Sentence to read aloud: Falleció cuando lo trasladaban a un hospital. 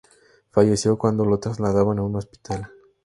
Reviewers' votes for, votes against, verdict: 2, 0, accepted